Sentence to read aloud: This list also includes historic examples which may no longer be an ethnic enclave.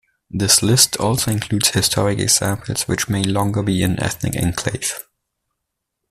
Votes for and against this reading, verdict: 1, 2, rejected